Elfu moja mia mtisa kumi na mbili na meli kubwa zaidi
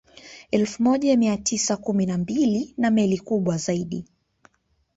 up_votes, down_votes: 3, 0